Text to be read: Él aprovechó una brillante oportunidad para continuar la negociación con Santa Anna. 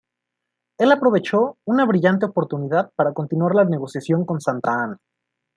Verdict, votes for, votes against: accepted, 2, 0